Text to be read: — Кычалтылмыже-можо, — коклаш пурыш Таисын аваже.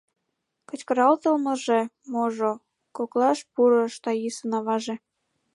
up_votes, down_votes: 1, 2